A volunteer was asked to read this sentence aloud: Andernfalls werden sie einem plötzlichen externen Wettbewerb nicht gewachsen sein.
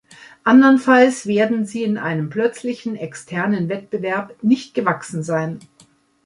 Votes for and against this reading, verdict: 0, 2, rejected